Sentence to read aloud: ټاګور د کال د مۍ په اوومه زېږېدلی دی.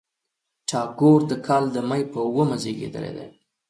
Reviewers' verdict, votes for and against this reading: accepted, 2, 0